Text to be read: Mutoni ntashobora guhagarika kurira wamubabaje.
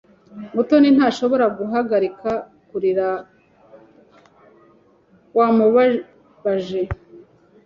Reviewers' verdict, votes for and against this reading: accepted, 2, 0